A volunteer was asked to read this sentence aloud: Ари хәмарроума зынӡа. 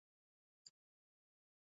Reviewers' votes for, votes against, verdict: 0, 2, rejected